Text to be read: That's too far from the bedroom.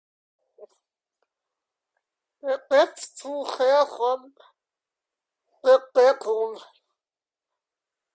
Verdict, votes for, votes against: rejected, 0, 3